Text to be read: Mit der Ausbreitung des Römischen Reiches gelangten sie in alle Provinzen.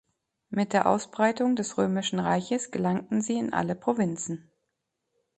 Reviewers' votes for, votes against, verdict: 2, 0, accepted